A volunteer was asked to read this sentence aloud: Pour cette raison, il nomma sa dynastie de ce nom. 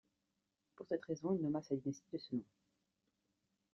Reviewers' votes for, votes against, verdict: 0, 2, rejected